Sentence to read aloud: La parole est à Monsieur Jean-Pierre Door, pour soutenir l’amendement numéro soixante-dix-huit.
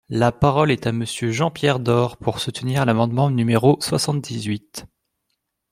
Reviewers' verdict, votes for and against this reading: accepted, 2, 0